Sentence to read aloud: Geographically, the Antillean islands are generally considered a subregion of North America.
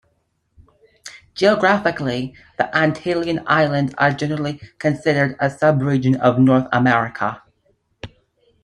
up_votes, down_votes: 2, 0